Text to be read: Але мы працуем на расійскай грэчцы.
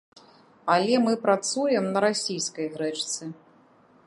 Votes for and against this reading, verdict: 2, 1, accepted